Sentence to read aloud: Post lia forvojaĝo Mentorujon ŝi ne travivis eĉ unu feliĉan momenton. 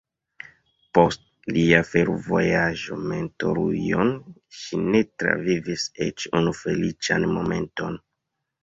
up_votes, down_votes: 1, 2